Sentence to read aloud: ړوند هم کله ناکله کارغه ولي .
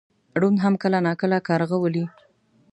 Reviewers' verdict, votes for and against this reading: accepted, 2, 0